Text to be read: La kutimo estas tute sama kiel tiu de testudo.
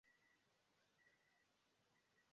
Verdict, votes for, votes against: rejected, 0, 2